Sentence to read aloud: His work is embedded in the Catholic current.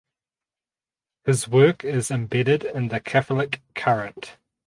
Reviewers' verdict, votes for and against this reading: accepted, 4, 0